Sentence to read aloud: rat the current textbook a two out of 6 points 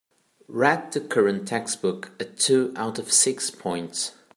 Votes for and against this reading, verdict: 0, 2, rejected